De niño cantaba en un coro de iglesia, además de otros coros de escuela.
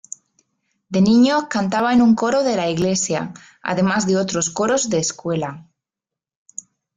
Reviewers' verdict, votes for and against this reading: rejected, 0, 2